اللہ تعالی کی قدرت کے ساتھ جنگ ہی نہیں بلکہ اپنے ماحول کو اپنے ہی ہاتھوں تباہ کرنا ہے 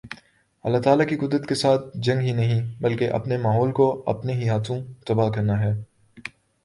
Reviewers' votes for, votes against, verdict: 1, 2, rejected